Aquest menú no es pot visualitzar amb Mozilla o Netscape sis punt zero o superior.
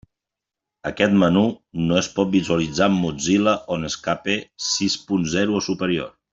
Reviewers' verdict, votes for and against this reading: rejected, 0, 2